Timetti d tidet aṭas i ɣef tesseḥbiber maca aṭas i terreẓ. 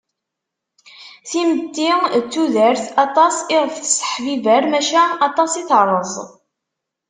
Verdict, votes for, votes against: rejected, 1, 2